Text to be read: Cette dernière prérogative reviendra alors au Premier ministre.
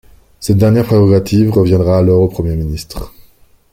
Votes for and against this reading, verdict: 2, 1, accepted